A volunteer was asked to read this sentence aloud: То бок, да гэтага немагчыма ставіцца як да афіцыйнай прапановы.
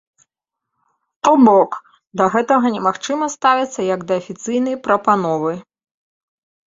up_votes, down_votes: 2, 0